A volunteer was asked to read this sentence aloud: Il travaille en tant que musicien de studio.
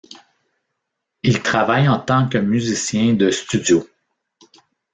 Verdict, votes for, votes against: accepted, 3, 0